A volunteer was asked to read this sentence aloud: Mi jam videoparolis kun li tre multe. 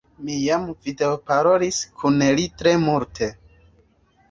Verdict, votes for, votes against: accepted, 2, 0